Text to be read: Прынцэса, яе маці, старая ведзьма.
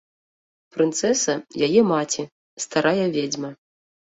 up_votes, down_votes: 2, 0